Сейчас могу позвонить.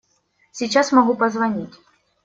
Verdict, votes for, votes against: accepted, 2, 0